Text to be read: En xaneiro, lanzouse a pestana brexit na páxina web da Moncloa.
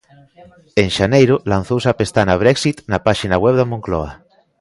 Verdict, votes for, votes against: accepted, 2, 0